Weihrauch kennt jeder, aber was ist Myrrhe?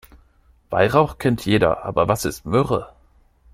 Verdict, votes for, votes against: accepted, 2, 0